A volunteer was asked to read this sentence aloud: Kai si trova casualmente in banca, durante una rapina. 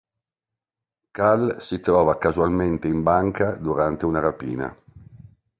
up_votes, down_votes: 1, 2